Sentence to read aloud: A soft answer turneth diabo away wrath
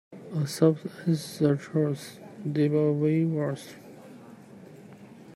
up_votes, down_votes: 0, 2